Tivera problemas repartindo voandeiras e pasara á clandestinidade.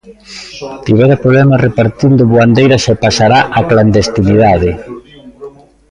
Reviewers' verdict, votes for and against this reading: rejected, 0, 2